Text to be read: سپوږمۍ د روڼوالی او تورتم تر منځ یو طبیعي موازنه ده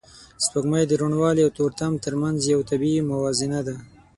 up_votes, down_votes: 12, 0